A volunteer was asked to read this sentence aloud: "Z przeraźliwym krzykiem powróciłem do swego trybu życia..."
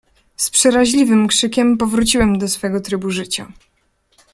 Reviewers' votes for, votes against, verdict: 2, 0, accepted